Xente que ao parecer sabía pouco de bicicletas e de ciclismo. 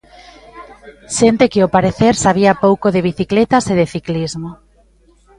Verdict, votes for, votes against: accepted, 2, 0